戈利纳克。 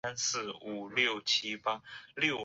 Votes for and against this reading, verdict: 1, 2, rejected